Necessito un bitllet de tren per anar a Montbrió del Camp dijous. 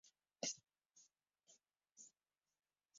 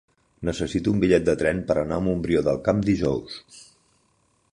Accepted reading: second